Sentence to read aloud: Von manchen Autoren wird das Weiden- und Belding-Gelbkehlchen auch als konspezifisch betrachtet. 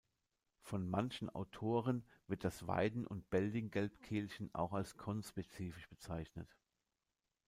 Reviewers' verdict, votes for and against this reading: rejected, 1, 2